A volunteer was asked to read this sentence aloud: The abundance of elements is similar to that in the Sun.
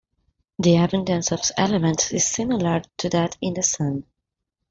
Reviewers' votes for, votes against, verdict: 1, 2, rejected